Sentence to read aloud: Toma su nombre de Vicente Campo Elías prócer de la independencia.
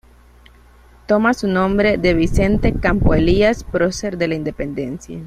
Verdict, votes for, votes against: accepted, 2, 0